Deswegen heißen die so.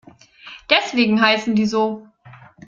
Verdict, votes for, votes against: accepted, 2, 0